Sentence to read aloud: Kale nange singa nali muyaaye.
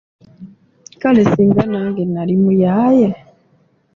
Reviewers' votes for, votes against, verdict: 1, 2, rejected